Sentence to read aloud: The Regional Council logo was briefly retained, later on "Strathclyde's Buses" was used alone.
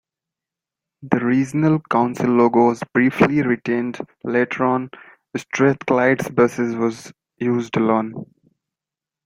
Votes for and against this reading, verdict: 2, 0, accepted